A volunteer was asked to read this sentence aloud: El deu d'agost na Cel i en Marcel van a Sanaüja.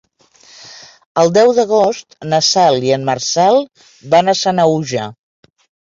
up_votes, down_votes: 2, 0